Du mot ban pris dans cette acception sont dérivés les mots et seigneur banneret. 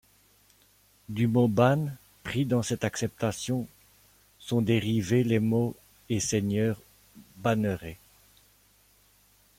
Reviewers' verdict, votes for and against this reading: accepted, 2, 1